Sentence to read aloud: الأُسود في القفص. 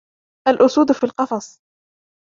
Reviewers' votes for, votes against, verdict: 1, 2, rejected